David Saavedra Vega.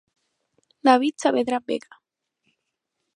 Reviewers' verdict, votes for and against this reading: rejected, 0, 4